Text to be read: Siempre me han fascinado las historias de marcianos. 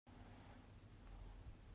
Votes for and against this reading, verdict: 1, 2, rejected